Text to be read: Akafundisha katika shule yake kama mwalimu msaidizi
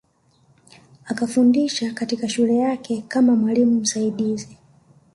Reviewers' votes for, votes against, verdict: 2, 0, accepted